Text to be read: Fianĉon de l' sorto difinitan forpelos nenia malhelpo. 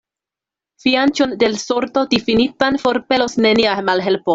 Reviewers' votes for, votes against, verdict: 2, 0, accepted